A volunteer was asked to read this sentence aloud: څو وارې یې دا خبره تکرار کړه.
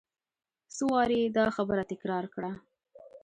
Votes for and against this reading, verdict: 2, 0, accepted